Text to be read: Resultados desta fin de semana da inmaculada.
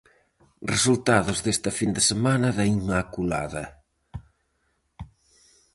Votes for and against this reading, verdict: 4, 0, accepted